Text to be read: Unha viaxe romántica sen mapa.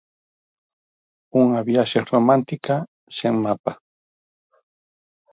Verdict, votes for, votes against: accepted, 4, 0